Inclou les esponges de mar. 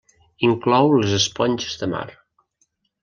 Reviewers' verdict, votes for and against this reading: accepted, 2, 0